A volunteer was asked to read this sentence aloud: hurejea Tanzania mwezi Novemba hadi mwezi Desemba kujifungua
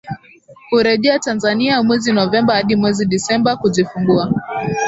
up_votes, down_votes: 17, 1